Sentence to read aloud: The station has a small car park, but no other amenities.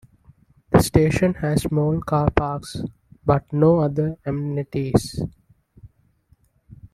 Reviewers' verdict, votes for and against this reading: rejected, 1, 2